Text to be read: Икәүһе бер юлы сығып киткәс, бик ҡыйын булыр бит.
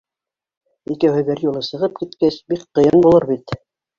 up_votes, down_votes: 1, 2